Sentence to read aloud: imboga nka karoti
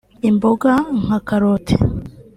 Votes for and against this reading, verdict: 2, 1, accepted